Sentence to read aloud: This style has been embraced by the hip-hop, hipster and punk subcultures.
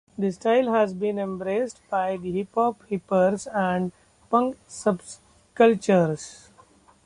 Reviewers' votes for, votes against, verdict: 0, 2, rejected